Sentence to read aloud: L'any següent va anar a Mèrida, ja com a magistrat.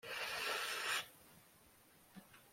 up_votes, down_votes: 0, 2